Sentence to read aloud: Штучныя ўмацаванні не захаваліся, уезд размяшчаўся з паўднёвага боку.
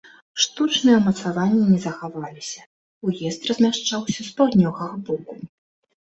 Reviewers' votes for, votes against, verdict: 2, 0, accepted